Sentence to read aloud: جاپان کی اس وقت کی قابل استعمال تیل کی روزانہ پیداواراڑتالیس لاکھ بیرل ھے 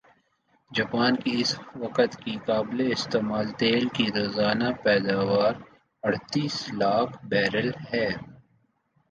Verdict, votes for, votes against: accepted, 3, 1